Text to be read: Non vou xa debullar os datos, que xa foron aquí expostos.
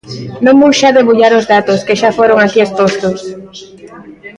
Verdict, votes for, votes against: accepted, 2, 0